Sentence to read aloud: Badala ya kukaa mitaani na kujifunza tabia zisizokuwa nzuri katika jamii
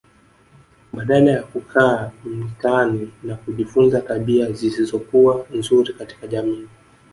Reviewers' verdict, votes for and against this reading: rejected, 1, 2